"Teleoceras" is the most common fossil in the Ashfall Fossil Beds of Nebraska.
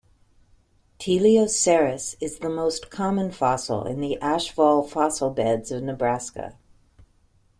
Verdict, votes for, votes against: accepted, 2, 0